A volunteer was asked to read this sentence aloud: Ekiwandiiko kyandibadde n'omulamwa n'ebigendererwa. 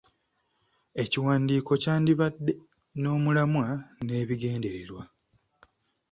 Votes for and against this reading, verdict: 2, 0, accepted